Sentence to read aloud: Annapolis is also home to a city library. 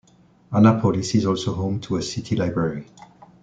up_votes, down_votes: 2, 0